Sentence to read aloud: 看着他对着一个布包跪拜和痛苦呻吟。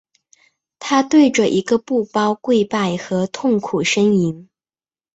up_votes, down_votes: 1, 2